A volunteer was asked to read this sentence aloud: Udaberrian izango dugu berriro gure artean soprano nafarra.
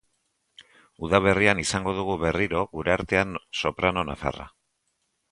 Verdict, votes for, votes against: accepted, 2, 0